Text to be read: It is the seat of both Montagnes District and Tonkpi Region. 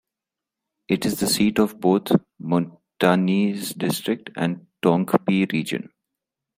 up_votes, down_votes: 1, 2